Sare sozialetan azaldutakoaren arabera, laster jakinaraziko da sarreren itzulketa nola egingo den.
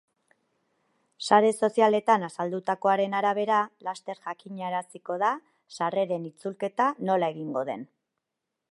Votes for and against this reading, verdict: 2, 0, accepted